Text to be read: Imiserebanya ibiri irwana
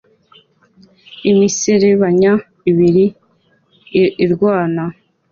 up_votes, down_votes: 2, 0